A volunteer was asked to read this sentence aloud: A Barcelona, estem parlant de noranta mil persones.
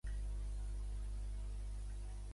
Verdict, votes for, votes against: rejected, 0, 2